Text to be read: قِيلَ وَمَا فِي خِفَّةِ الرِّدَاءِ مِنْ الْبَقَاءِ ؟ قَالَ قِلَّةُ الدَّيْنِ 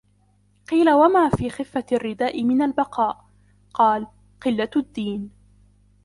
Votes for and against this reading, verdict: 1, 2, rejected